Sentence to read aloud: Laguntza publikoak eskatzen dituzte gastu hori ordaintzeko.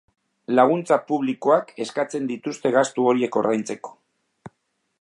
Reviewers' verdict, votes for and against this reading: rejected, 0, 2